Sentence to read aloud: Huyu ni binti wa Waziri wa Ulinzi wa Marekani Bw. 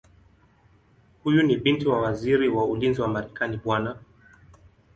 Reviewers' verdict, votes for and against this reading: accepted, 4, 1